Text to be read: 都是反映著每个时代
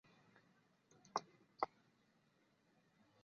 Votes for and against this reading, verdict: 1, 5, rejected